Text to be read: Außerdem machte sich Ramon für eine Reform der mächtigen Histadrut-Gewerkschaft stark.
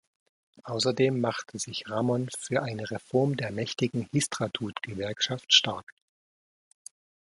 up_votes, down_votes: 1, 2